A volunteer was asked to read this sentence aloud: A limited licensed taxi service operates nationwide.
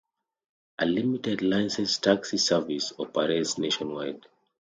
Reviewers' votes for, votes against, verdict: 2, 0, accepted